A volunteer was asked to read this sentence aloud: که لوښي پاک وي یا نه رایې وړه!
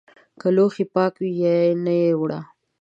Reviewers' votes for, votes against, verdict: 2, 1, accepted